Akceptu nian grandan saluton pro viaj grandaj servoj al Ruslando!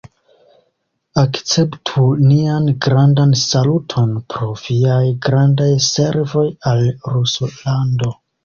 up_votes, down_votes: 1, 2